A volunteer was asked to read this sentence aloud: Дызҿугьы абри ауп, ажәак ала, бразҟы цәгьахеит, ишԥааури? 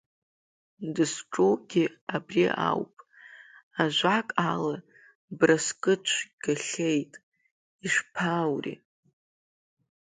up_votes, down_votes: 1, 2